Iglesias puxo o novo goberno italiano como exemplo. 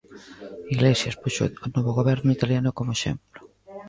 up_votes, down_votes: 1, 2